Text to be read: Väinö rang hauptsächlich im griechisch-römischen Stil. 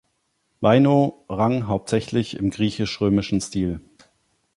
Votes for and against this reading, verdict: 1, 2, rejected